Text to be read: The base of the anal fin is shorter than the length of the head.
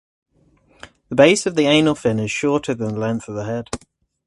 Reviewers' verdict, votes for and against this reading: accepted, 4, 0